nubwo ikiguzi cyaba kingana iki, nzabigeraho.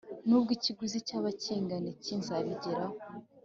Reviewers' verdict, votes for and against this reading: accepted, 2, 0